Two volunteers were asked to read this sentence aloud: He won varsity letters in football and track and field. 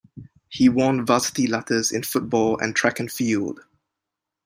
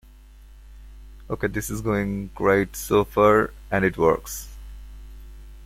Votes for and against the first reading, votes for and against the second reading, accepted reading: 2, 1, 0, 2, first